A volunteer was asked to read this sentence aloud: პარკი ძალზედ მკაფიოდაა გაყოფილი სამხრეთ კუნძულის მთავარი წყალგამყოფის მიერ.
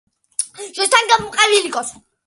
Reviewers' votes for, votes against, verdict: 0, 2, rejected